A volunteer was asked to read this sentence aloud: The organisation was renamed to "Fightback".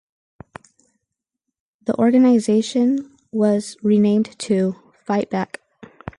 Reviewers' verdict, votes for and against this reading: accepted, 4, 0